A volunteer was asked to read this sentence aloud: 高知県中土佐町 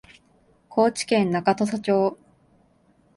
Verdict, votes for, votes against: accepted, 2, 0